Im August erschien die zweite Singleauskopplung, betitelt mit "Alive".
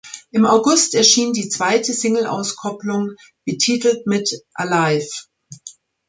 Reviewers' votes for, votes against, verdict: 2, 0, accepted